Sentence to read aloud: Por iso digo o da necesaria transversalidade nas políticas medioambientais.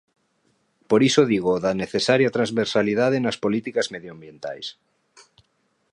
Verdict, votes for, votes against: accepted, 2, 0